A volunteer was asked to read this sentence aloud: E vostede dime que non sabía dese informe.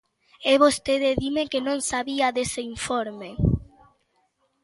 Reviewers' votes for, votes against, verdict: 3, 0, accepted